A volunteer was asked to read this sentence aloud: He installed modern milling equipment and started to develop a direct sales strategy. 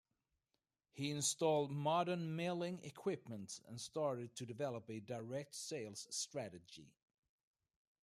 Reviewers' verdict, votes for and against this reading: accepted, 2, 0